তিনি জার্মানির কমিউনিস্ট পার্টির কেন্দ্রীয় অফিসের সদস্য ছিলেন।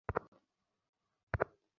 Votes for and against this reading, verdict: 0, 2, rejected